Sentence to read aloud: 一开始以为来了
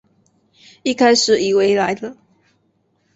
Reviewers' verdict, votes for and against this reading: accepted, 4, 0